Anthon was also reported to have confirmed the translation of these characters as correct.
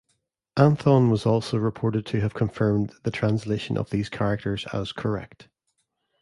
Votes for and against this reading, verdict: 2, 0, accepted